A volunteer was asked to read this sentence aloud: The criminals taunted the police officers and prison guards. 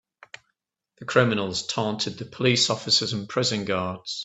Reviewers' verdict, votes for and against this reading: accepted, 2, 0